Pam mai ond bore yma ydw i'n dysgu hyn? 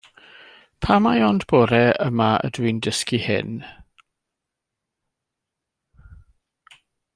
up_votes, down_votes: 1, 2